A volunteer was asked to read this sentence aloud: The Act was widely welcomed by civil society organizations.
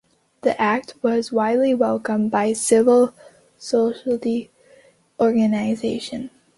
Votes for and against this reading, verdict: 0, 2, rejected